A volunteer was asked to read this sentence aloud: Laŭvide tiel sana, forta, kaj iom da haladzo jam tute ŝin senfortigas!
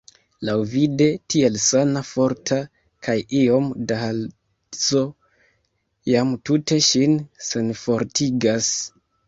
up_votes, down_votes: 1, 2